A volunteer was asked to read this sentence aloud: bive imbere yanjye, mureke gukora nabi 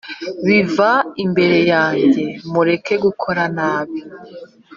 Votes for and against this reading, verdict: 2, 3, rejected